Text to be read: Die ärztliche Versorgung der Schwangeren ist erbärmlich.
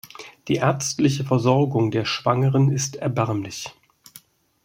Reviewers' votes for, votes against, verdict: 2, 0, accepted